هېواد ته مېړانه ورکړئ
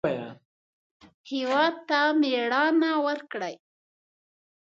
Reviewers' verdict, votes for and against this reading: accepted, 2, 1